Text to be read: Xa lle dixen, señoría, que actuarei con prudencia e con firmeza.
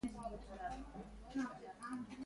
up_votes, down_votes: 0, 2